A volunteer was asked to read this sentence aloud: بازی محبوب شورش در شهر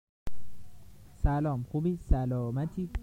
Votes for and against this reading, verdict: 0, 2, rejected